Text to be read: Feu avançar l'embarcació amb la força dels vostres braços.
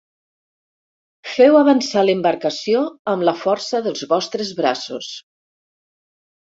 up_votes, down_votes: 4, 0